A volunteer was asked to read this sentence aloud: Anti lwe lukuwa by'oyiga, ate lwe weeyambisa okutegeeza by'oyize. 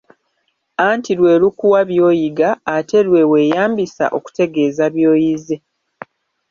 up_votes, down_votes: 1, 2